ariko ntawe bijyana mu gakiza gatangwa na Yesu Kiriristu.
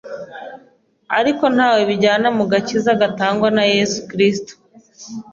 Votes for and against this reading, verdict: 2, 1, accepted